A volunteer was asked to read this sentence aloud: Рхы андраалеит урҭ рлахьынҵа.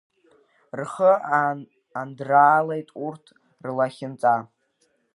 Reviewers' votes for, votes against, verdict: 1, 2, rejected